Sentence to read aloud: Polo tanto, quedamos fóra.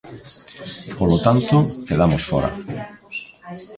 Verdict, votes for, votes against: accepted, 2, 0